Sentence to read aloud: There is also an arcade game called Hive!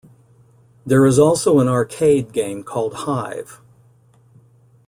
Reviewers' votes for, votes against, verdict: 2, 0, accepted